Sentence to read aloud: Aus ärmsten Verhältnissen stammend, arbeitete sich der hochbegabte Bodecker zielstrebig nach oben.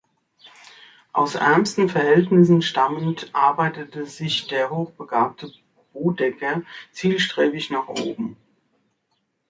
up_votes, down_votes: 4, 0